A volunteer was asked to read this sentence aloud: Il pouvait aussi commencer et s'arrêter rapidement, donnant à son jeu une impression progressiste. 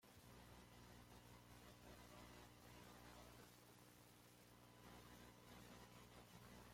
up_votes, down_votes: 0, 2